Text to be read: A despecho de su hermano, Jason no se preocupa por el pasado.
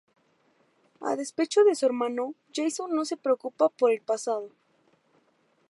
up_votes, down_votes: 2, 0